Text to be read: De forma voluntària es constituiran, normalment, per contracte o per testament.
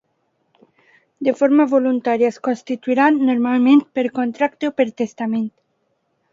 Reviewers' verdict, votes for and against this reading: accepted, 2, 0